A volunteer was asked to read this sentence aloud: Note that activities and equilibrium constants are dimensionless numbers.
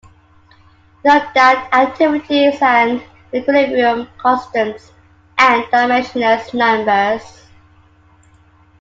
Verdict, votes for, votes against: accepted, 2, 1